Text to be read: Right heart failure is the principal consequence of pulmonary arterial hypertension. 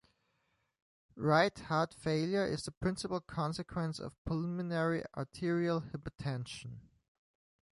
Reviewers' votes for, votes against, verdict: 2, 0, accepted